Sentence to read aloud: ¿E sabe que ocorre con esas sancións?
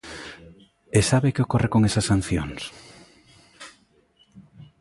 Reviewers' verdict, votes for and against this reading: accepted, 2, 0